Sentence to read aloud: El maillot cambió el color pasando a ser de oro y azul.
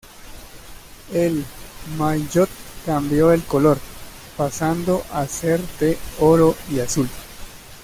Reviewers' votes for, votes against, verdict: 1, 2, rejected